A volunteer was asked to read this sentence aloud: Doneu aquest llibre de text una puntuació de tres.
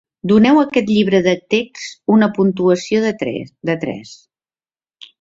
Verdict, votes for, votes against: rejected, 0, 3